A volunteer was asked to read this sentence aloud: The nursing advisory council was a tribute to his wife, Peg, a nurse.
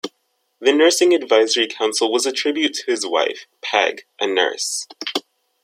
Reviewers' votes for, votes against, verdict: 2, 0, accepted